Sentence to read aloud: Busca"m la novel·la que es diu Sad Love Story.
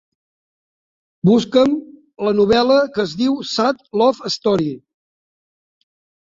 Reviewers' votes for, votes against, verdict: 2, 0, accepted